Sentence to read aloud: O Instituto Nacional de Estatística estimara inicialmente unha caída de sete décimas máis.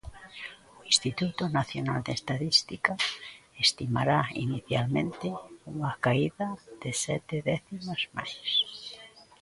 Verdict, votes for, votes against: rejected, 1, 2